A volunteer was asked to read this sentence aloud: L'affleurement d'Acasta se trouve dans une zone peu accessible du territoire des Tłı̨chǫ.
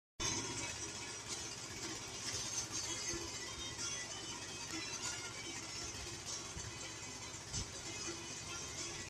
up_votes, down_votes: 0, 2